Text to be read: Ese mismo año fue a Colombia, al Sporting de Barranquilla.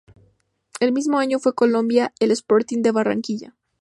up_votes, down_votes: 0, 2